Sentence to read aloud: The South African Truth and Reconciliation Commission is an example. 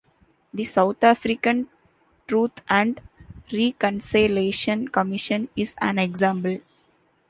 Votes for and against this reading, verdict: 0, 2, rejected